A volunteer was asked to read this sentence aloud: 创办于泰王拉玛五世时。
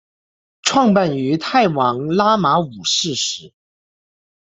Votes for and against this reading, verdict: 2, 0, accepted